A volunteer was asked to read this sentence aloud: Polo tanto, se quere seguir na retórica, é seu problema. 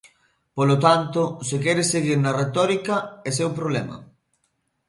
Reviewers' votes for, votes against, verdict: 2, 0, accepted